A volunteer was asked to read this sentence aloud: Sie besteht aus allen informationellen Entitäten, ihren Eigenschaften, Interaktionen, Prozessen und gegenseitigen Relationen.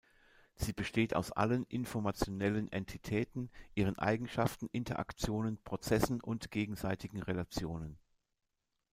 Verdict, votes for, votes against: accepted, 2, 0